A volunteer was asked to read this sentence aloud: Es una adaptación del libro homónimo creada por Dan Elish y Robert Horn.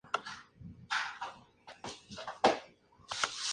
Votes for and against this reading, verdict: 0, 2, rejected